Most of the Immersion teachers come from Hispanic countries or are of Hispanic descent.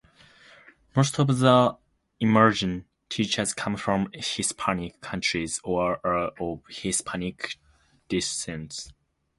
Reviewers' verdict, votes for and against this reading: rejected, 0, 2